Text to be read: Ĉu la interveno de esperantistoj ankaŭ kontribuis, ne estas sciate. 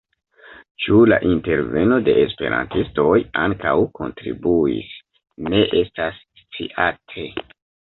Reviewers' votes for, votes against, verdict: 2, 0, accepted